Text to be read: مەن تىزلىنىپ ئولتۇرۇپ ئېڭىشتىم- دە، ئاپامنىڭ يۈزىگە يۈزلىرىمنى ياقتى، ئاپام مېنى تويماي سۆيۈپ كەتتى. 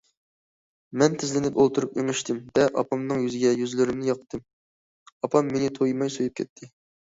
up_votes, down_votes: 2, 0